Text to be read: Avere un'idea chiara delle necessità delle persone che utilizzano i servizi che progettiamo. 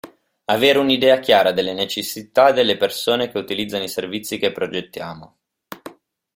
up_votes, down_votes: 2, 0